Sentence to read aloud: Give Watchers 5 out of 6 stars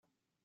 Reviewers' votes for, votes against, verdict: 0, 2, rejected